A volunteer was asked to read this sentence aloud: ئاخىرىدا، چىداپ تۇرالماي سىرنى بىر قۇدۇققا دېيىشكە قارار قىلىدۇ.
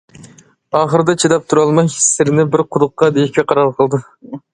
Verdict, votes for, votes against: accepted, 2, 0